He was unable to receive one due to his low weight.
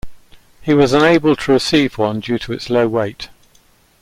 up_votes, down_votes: 2, 0